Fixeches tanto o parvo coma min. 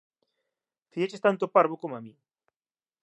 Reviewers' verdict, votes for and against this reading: accepted, 2, 0